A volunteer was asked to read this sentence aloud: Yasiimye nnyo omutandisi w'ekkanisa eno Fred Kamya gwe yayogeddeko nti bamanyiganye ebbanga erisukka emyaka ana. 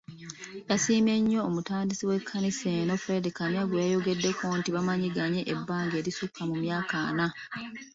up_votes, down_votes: 2, 1